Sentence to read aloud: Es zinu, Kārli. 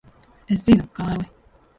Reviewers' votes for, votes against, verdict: 2, 1, accepted